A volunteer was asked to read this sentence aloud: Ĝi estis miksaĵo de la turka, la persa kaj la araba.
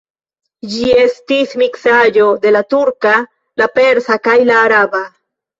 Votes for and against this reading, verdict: 0, 2, rejected